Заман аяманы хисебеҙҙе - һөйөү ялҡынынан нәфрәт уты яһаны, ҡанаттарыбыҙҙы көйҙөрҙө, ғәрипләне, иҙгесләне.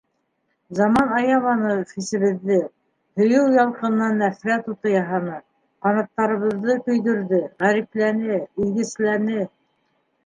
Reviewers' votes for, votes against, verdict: 1, 2, rejected